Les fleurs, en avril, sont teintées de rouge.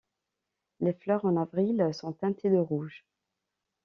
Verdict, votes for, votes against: accepted, 2, 0